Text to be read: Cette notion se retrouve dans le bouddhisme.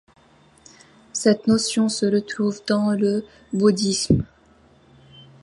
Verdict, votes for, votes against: accepted, 2, 0